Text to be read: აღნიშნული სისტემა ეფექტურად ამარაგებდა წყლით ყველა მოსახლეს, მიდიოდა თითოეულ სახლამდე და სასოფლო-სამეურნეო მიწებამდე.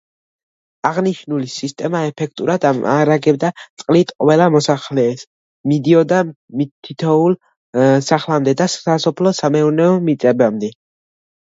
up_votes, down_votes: 2, 0